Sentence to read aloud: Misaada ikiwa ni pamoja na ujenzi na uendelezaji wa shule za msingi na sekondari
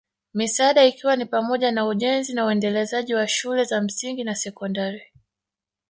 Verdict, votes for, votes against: rejected, 0, 2